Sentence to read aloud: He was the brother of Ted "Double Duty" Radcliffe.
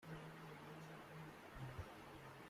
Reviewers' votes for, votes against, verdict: 0, 2, rejected